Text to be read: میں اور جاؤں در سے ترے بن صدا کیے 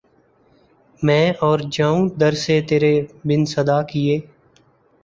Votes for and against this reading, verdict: 0, 2, rejected